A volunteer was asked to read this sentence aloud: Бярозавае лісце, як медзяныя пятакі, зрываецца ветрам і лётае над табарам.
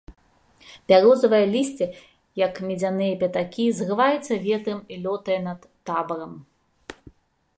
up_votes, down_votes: 2, 0